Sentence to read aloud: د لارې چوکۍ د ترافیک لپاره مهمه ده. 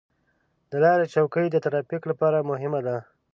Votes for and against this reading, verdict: 2, 0, accepted